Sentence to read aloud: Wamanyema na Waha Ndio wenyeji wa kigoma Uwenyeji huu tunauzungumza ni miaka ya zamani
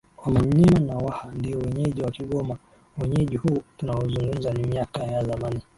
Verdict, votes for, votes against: accepted, 2, 0